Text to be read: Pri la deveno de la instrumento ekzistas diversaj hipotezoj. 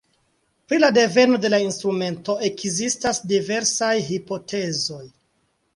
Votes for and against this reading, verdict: 2, 1, accepted